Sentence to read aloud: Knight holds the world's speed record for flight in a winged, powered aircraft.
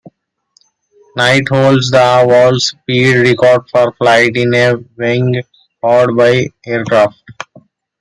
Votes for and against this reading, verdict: 1, 2, rejected